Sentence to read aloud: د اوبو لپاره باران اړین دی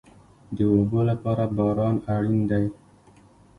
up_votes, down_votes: 1, 2